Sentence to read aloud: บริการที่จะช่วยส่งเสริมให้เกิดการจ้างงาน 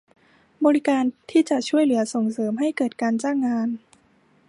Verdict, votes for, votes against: rejected, 1, 2